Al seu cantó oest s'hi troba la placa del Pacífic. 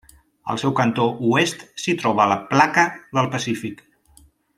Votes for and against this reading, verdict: 3, 0, accepted